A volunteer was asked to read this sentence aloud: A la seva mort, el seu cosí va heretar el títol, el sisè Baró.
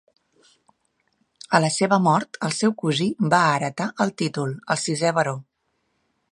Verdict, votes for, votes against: accepted, 3, 0